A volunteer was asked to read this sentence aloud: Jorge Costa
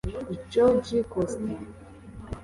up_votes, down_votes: 2, 0